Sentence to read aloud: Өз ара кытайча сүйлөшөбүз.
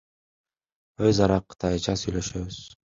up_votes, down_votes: 2, 0